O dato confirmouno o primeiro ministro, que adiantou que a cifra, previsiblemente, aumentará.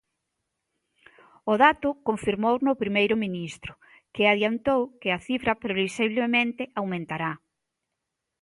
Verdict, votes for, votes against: rejected, 1, 2